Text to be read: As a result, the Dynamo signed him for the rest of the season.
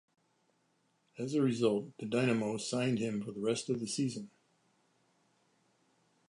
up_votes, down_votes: 2, 1